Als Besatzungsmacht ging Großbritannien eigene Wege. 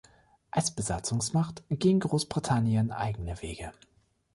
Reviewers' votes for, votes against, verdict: 2, 0, accepted